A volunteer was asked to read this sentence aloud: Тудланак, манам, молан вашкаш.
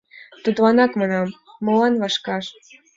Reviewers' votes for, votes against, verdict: 2, 0, accepted